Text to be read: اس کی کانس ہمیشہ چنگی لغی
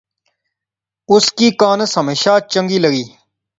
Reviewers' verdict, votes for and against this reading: accepted, 2, 0